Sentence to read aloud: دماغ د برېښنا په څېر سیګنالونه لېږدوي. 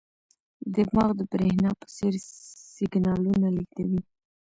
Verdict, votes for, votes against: accepted, 2, 0